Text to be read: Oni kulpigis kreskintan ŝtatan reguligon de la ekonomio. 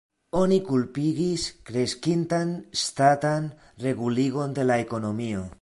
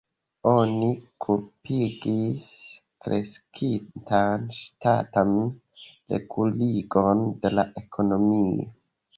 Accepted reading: first